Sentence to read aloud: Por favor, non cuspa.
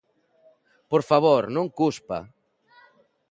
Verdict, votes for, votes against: accepted, 2, 0